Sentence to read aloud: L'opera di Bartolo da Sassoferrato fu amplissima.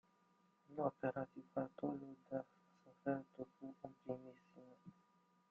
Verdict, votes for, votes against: rejected, 0, 2